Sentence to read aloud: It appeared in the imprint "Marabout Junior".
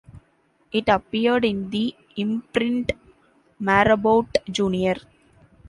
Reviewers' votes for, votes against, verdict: 2, 1, accepted